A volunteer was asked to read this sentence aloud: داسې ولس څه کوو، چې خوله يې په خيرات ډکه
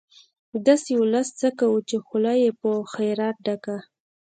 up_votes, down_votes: 2, 0